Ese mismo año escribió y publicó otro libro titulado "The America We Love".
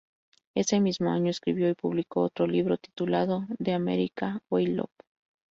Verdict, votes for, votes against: rejected, 0, 2